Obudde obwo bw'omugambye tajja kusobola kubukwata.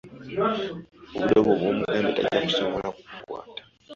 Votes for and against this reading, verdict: 0, 2, rejected